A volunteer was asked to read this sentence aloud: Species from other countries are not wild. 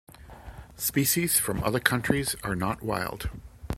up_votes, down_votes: 2, 0